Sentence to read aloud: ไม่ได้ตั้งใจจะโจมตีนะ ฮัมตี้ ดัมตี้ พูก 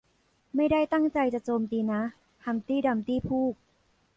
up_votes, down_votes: 1, 2